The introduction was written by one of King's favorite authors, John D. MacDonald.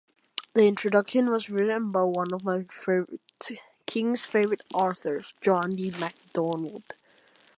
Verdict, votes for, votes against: rejected, 0, 2